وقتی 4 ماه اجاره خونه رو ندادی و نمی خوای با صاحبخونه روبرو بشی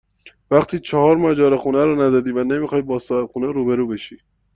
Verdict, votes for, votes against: rejected, 0, 2